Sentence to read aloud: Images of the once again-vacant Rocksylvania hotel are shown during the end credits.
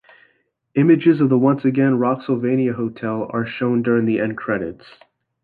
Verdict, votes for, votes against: rejected, 0, 2